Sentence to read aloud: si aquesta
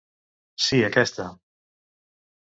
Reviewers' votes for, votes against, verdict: 1, 2, rejected